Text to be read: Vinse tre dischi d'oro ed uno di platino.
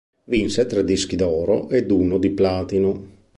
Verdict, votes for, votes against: accepted, 2, 0